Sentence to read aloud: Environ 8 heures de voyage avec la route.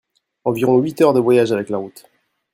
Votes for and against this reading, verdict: 0, 2, rejected